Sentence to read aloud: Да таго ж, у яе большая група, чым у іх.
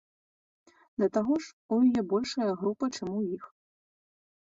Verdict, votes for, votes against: rejected, 1, 2